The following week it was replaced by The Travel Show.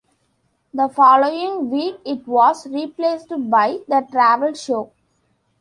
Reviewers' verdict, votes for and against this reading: accepted, 2, 0